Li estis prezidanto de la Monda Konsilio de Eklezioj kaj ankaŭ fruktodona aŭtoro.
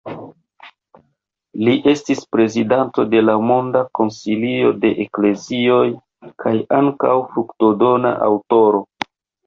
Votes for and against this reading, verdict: 0, 2, rejected